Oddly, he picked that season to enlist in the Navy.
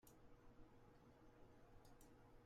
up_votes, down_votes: 0, 2